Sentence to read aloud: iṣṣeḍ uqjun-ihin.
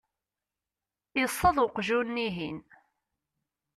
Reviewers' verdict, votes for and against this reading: accepted, 2, 0